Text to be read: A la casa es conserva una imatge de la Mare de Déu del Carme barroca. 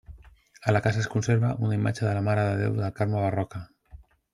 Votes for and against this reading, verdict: 1, 2, rejected